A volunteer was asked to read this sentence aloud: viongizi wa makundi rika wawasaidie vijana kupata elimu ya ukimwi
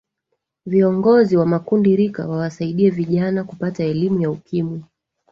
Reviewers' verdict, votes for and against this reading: rejected, 1, 3